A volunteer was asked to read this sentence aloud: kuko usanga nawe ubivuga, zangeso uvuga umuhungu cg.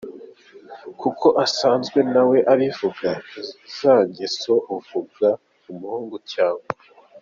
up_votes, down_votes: 0, 2